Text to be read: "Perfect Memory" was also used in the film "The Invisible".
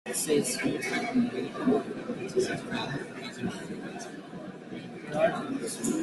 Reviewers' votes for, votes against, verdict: 0, 2, rejected